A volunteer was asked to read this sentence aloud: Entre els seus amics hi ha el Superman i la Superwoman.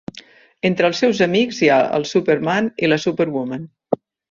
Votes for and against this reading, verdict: 3, 0, accepted